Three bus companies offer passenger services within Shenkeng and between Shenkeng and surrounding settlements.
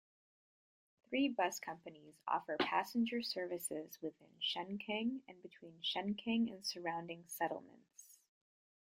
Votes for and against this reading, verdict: 1, 2, rejected